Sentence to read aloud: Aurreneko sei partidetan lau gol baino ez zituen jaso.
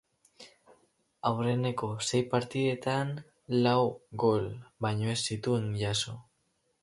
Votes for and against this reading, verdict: 2, 2, rejected